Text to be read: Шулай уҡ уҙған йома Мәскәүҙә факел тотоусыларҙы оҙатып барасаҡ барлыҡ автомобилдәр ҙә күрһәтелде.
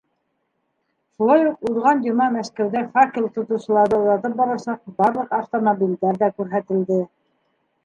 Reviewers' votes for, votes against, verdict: 2, 0, accepted